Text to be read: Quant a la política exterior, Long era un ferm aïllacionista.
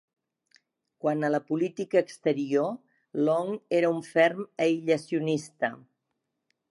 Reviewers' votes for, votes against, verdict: 2, 0, accepted